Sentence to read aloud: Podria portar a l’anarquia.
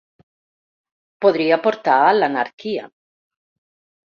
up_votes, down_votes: 2, 0